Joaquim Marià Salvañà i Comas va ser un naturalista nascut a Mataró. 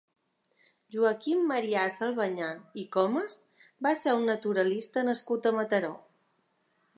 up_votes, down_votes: 2, 0